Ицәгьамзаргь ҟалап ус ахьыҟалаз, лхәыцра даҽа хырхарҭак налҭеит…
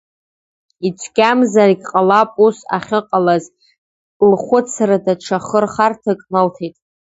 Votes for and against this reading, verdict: 2, 0, accepted